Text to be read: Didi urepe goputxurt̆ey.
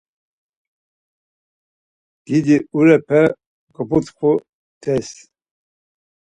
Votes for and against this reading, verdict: 2, 4, rejected